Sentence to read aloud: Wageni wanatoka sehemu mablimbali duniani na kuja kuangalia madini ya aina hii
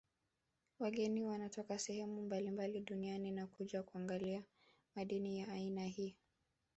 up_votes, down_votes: 1, 2